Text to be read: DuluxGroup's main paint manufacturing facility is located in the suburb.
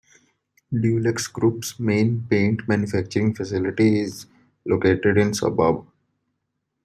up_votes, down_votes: 2, 0